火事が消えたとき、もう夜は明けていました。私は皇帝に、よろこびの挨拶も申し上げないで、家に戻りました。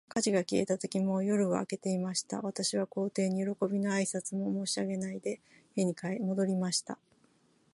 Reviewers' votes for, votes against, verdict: 2, 1, accepted